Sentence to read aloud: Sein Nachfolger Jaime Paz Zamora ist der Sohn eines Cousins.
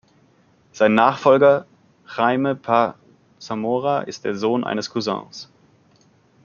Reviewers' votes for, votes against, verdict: 2, 0, accepted